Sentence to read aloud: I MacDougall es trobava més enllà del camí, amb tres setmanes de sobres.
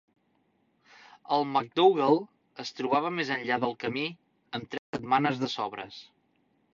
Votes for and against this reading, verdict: 0, 2, rejected